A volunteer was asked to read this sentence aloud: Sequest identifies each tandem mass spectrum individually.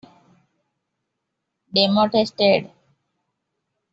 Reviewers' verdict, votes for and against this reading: rejected, 0, 2